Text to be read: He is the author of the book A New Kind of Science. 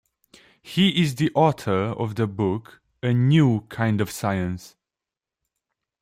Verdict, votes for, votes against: accepted, 2, 0